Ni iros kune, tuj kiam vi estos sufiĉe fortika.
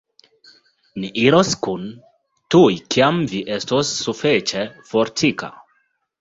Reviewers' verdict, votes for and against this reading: accepted, 2, 1